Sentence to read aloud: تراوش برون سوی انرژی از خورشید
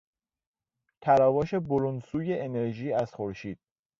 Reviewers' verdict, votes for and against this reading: accepted, 2, 0